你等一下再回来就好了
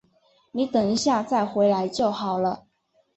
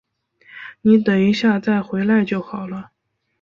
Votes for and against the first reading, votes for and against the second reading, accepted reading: 4, 0, 0, 2, first